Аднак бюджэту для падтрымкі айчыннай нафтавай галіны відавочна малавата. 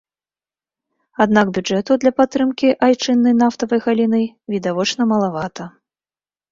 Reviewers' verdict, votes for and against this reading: accepted, 2, 0